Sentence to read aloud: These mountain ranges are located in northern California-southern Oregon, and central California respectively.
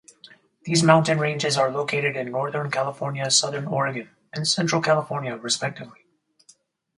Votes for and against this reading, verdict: 4, 0, accepted